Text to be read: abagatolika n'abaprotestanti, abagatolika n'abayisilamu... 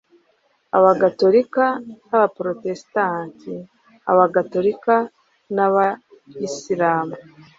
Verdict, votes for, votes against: accepted, 2, 0